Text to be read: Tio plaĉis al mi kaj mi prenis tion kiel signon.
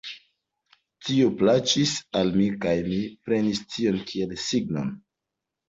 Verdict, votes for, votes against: rejected, 1, 2